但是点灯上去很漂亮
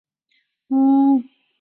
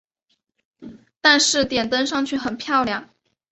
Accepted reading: second